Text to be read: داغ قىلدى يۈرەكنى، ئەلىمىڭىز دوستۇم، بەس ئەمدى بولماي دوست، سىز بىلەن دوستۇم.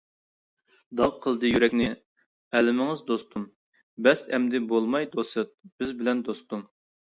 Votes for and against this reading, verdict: 1, 2, rejected